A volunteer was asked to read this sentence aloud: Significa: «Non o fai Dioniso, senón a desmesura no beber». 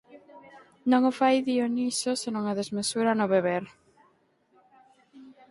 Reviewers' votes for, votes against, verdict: 0, 4, rejected